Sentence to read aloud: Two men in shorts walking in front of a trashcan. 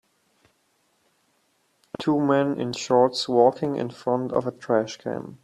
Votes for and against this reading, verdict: 1, 2, rejected